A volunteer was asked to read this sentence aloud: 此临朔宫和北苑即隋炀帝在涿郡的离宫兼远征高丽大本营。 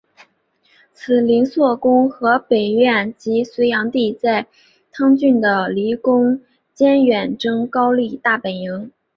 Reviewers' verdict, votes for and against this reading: rejected, 2, 2